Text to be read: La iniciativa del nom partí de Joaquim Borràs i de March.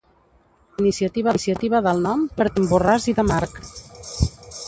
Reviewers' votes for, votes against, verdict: 0, 3, rejected